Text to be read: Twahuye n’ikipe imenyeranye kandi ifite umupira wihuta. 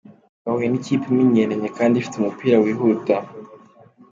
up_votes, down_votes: 3, 0